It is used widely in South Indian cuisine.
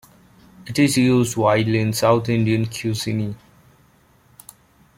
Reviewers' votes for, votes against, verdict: 1, 2, rejected